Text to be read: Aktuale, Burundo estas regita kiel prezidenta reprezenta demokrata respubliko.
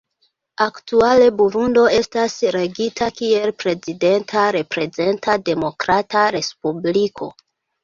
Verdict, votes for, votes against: accepted, 2, 1